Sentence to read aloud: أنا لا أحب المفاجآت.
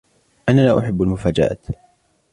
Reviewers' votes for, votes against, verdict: 2, 1, accepted